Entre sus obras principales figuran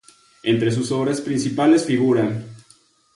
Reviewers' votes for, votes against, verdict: 0, 2, rejected